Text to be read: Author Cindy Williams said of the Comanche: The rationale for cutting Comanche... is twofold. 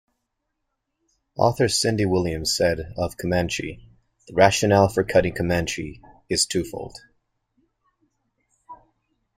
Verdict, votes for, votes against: rejected, 1, 2